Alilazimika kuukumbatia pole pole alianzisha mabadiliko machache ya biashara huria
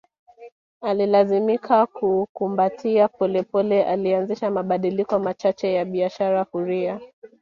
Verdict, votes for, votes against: accepted, 3, 1